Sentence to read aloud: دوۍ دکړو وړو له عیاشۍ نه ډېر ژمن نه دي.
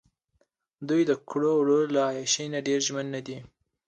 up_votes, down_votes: 2, 1